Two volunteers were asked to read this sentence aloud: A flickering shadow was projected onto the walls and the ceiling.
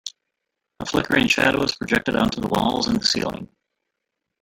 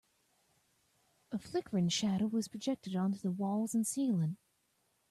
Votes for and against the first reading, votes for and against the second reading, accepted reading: 3, 1, 0, 2, first